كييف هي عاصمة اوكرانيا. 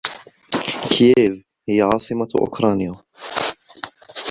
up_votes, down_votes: 2, 1